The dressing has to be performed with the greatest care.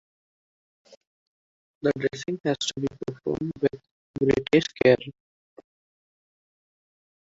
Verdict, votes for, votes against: rejected, 0, 2